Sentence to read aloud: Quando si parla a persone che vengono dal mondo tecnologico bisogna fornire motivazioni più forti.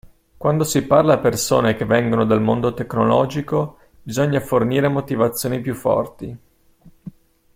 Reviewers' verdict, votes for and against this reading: accepted, 2, 0